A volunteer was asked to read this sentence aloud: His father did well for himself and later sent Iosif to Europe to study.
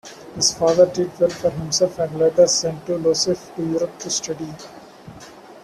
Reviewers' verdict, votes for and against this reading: rejected, 0, 2